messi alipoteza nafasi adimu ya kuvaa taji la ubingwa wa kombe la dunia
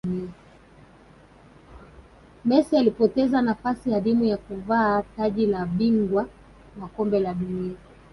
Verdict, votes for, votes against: rejected, 1, 2